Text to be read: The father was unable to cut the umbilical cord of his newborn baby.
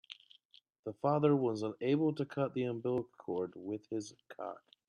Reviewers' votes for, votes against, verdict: 0, 2, rejected